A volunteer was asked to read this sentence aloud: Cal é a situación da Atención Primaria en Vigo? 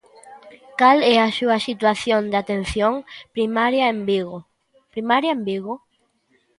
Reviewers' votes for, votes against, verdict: 0, 2, rejected